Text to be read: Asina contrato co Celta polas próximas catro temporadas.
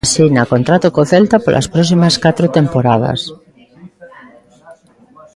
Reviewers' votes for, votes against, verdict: 3, 0, accepted